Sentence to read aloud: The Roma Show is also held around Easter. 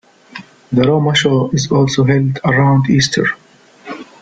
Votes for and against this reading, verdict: 2, 0, accepted